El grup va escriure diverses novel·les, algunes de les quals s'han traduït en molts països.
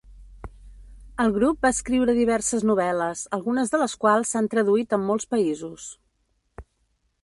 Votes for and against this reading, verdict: 2, 0, accepted